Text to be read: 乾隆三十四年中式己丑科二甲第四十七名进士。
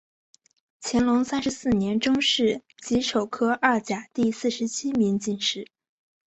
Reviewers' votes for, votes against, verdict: 2, 0, accepted